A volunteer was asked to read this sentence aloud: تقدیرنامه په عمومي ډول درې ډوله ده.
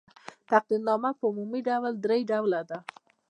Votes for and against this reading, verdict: 2, 1, accepted